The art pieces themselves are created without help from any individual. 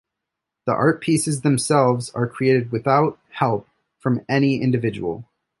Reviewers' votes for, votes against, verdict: 2, 0, accepted